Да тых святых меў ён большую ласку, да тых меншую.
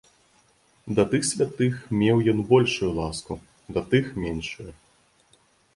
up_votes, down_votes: 2, 0